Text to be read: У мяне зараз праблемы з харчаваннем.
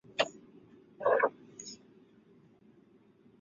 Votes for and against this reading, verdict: 0, 2, rejected